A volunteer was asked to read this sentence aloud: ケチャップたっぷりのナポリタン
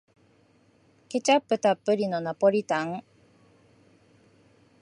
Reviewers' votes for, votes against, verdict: 2, 0, accepted